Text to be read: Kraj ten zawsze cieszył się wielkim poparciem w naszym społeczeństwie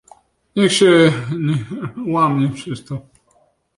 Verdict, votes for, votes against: rejected, 0, 2